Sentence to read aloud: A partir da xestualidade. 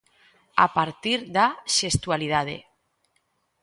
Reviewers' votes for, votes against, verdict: 2, 0, accepted